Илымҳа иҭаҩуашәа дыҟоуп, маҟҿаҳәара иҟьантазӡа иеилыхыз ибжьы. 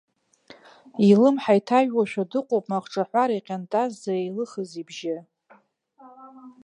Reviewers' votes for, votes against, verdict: 1, 2, rejected